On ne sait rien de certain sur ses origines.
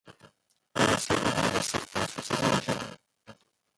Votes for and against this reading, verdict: 0, 2, rejected